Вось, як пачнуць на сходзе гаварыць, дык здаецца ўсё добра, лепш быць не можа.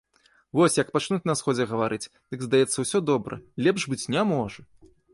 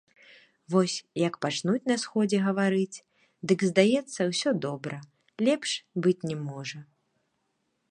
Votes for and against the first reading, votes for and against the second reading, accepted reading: 2, 0, 1, 2, first